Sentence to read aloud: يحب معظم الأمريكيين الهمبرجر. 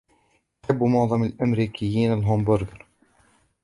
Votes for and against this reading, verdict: 2, 0, accepted